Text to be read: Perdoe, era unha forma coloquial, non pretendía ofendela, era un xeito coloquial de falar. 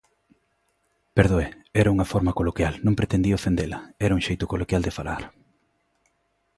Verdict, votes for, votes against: accepted, 2, 0